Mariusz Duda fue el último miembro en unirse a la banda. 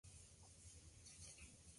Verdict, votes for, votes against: rejected, 0, 4